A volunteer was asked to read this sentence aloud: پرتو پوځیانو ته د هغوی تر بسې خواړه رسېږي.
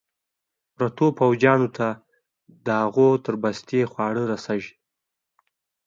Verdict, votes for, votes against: rejected, 1, 2